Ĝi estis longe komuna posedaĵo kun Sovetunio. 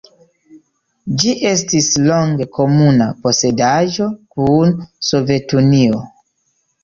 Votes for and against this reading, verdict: 2, 0, accepted